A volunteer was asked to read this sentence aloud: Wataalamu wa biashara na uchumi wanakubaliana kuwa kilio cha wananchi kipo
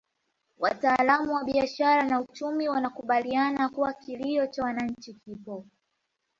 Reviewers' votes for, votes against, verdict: 2, 1, accepted